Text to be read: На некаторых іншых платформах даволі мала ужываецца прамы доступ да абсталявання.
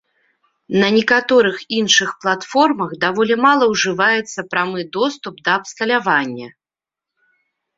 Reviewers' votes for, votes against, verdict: 2, 0, accepted